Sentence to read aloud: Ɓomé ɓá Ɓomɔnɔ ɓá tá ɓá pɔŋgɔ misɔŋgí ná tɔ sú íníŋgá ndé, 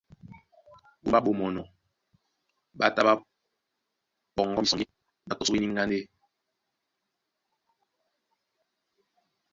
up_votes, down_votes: 0, 2